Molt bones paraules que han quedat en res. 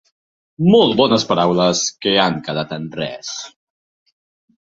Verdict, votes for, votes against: accepted, 2, 0